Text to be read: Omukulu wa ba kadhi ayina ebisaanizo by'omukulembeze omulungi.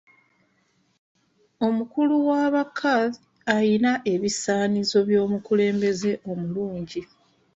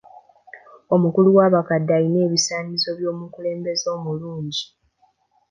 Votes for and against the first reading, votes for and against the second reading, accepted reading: 2, 1, 1, 2, first